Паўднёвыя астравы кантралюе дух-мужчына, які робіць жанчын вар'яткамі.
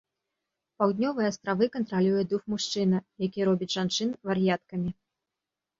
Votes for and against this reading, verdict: 2, 0, accepted